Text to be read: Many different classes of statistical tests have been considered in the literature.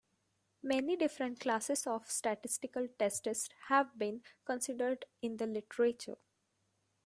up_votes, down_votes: 0, 2